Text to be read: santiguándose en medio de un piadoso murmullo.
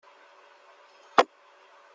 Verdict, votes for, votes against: rejected, 0, 2